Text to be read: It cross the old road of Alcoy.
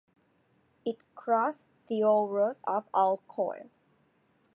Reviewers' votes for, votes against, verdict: 0, 2, rejected